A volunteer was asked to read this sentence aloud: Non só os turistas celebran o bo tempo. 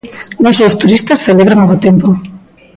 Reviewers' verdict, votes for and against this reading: accepted, 2, 1